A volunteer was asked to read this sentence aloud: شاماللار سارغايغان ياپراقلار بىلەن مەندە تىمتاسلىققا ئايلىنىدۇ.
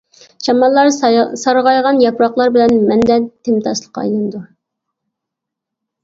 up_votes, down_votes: 1, 2